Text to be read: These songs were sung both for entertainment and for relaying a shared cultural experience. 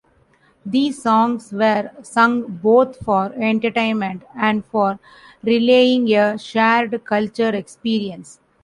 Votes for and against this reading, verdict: 1, 2, rejected